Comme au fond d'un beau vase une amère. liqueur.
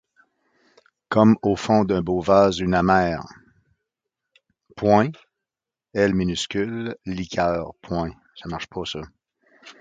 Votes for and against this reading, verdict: 1, 2, rejected